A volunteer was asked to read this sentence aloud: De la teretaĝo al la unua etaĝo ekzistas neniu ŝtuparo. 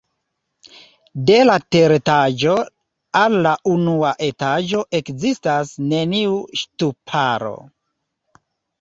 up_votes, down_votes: 2, 0